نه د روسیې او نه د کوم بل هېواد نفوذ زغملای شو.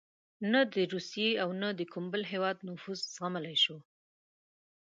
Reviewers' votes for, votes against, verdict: 2, 0, accepted